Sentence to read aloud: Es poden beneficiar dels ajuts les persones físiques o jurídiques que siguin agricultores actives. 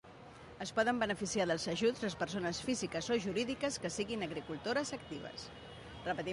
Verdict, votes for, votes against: rejected, 1, 2